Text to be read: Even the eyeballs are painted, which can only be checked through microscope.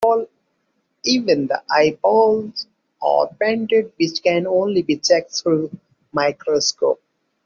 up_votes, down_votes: 2, 0